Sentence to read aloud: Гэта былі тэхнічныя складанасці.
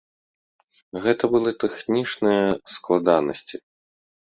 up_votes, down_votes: 1, 2